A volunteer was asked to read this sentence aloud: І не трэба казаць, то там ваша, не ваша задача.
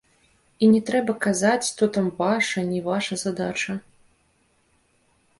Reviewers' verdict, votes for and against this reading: rejected, 1, 2